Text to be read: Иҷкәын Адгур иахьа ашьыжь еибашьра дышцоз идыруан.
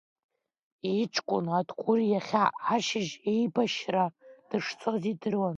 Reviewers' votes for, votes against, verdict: 1, 2, rejected